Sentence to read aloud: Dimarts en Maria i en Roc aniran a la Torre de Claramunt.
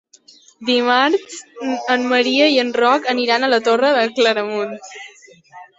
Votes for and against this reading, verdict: 0, 2, rejected